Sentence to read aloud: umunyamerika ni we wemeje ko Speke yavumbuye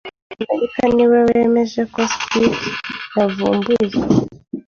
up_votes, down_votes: 1, 2